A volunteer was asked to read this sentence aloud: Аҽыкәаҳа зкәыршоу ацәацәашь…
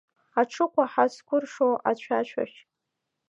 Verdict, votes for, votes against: accepted, 2, 0